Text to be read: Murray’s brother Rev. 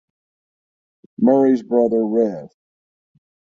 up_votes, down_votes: 6, 0